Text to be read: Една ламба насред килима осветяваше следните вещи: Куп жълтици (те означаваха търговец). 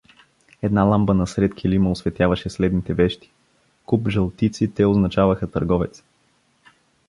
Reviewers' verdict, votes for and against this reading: accepted, 2, 0